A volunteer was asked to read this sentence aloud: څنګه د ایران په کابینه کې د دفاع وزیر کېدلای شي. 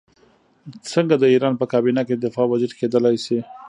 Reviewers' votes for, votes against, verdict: 0, 2, rejected